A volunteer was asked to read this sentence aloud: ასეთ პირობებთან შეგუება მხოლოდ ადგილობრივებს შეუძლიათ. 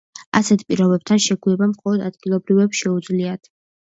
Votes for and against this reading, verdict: 2, 0, accepted